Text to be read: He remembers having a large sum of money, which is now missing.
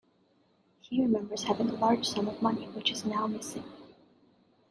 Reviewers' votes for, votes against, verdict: 2, 0, accepted